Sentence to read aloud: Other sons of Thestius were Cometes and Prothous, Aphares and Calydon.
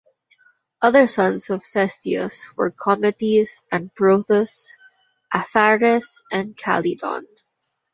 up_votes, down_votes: 2, 0